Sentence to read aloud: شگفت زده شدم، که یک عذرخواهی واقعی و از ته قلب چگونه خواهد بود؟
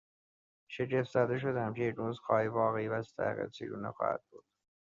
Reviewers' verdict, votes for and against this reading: rejected, 0, 2